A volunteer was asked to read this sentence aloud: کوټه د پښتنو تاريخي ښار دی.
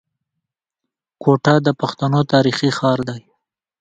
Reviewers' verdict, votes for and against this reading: accepted, 2, 0